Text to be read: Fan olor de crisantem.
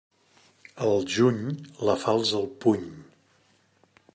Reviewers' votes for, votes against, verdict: 0, 2, rejected